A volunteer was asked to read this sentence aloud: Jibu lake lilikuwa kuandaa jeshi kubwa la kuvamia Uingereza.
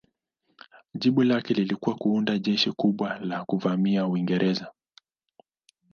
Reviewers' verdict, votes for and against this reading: accepted, 2, 0